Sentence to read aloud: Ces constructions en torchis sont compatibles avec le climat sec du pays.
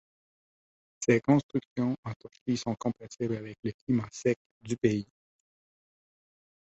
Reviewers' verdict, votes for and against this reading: rejected, 1, 2